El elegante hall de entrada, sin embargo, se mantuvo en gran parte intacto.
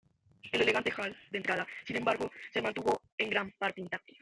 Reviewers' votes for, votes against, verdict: 0, 2, rejected